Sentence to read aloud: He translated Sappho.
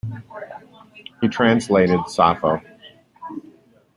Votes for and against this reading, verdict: 2, 0, accepted